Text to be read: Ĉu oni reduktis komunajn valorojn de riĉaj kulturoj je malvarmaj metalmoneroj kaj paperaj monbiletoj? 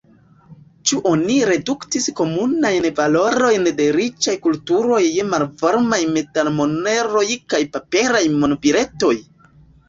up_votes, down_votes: 2, 1